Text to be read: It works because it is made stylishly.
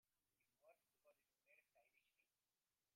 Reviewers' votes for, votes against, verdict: 0, 2, rejected